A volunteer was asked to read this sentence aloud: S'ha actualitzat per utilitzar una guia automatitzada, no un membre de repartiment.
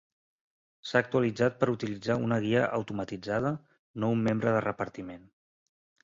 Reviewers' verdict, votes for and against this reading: accepted, 3, 0